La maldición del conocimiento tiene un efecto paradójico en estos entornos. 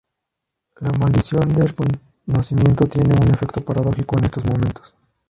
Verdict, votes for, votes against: rejected, 0, 2